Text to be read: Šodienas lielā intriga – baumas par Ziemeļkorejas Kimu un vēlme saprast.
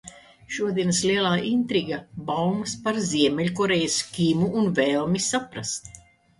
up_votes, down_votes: 0, 2